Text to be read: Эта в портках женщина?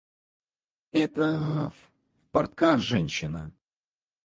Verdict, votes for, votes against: rejected, 0, 4